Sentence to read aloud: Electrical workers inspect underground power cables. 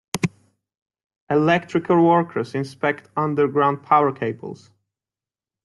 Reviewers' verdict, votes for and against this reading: accepted, 2, 0